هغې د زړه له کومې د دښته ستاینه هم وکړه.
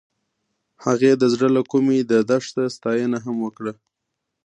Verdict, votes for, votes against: rejected, 1, 2